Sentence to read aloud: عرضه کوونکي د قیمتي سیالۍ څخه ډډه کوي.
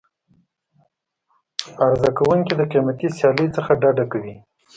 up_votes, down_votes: 2, 0